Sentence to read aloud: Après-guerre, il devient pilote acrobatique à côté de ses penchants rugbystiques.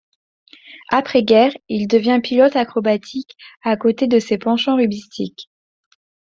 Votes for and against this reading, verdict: 2, 0, accepted